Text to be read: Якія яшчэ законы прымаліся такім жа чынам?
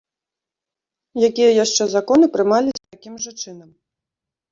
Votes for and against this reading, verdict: 2, 1, accepted